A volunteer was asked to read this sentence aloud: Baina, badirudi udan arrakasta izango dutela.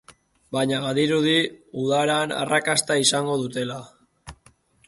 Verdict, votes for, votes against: rejected, 0, 2